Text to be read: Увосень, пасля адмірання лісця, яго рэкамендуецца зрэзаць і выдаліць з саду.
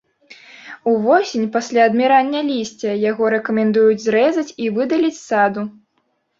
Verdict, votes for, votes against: rejected, 0, 2